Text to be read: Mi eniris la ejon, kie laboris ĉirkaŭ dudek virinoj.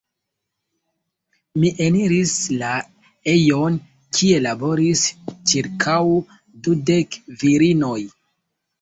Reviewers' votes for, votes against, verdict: 1, 2, rejected